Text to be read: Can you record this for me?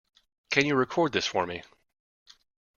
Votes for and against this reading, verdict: 2, 0, accepted